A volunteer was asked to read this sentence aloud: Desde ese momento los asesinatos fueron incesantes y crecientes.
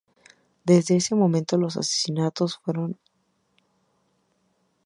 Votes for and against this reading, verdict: 0, 2, rejected